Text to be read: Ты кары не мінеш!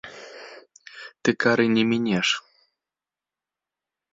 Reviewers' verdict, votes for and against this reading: accepted, 2, 0